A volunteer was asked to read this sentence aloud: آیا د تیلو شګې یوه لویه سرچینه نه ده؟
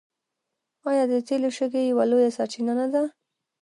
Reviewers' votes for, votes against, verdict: 2, 0, accepted